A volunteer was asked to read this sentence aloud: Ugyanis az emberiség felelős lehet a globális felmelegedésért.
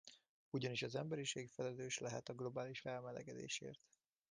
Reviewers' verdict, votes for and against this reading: accepted, 2, 0